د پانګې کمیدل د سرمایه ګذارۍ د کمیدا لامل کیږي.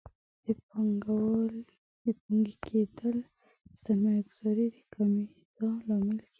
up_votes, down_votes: 0, 2